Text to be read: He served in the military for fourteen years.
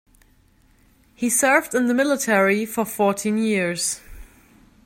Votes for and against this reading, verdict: 2, 0, accepted